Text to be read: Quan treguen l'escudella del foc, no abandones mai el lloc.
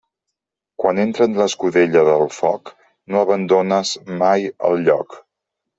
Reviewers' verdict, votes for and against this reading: rejected, 0, 2